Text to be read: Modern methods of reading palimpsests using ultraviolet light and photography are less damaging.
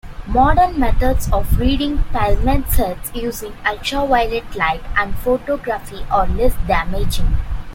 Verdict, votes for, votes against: rejected, 0, 2